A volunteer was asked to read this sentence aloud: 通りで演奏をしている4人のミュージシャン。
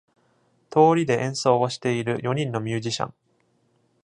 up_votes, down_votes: 0, 2